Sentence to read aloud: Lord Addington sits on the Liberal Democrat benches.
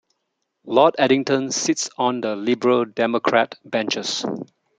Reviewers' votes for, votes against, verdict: 2, 0, accepted